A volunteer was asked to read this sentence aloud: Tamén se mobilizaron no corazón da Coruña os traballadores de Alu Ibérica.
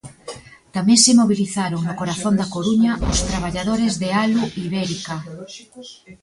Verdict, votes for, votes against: rejected, 0, 2